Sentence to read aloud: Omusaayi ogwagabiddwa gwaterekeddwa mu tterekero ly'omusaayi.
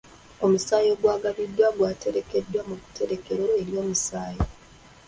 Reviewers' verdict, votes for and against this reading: rejected, 0, 2